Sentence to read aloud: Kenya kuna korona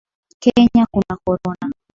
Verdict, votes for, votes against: accepted, 2, 1